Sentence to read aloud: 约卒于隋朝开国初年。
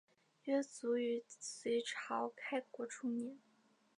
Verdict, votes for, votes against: accepted, 2, 0